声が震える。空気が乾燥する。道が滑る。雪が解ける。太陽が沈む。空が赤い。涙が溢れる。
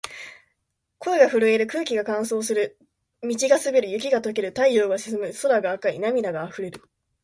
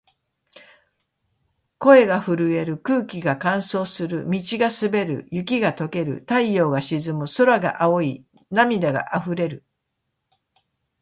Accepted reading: first